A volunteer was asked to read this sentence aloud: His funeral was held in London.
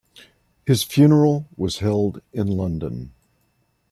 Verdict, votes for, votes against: rejected, 1, 2